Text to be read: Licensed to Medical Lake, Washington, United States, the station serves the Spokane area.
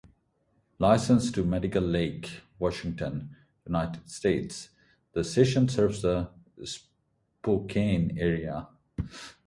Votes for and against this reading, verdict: 4, 2, accepted